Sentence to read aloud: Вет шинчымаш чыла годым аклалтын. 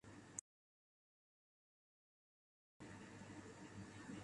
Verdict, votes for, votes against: rejected, 0, 2